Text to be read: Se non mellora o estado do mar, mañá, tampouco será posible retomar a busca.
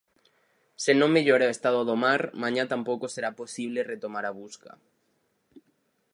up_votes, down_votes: 4, 0